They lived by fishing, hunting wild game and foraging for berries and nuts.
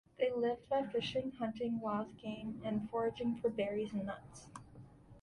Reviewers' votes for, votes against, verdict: 3, 0, accepted